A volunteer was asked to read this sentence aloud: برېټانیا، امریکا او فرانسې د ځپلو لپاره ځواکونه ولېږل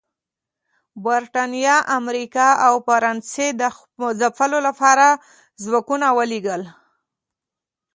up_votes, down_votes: 2, 0